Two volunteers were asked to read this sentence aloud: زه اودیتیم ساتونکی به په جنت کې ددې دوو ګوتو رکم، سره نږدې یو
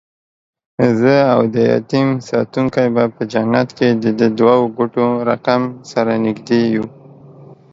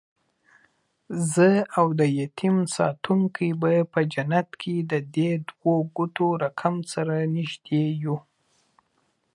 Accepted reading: first